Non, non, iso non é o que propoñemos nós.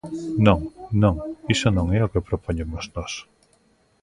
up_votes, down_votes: 2, 0